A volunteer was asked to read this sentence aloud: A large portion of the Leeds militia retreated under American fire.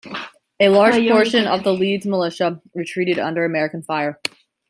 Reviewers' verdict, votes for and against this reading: rejected, 0, 2